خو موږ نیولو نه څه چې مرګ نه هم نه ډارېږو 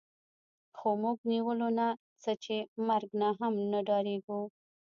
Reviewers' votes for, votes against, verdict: 0, 2, rejected